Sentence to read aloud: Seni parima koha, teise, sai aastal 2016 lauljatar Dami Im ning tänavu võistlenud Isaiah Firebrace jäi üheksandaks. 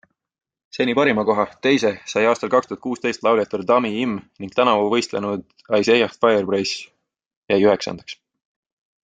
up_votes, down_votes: 0, 2